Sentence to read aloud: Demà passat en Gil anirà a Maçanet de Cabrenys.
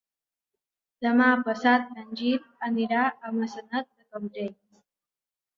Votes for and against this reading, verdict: 1, 2, rejected